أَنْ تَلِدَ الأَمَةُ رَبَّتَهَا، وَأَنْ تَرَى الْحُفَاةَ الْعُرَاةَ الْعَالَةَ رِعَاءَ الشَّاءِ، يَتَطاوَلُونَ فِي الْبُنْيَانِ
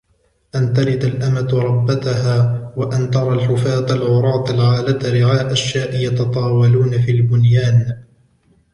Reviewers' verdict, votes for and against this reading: accepted, 2, 0